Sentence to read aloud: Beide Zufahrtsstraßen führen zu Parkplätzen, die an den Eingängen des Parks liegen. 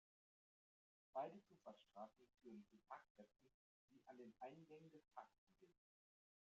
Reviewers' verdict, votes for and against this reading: rejected, 1, 2